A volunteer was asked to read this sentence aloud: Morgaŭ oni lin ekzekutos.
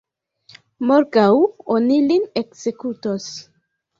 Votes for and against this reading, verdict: 2, 1, accepted